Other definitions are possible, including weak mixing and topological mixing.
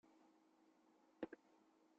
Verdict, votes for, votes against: rejected, 0, 2